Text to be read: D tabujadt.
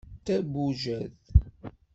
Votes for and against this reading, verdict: 2, 0, accepted